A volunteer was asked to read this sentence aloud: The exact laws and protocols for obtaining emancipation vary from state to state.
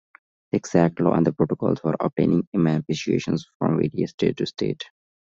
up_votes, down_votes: 0, 2